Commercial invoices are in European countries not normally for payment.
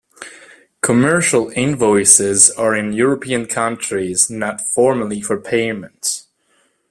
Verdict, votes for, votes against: rejected, 0, 2